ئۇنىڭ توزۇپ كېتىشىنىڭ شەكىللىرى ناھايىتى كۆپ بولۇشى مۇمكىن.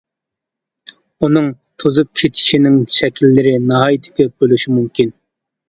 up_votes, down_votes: 2, 0